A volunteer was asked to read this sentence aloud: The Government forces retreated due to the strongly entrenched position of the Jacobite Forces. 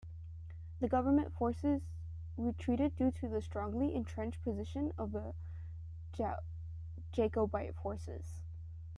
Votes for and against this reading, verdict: 0, 2, rejected